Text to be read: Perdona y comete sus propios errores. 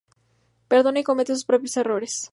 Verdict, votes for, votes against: accepted, 2, 0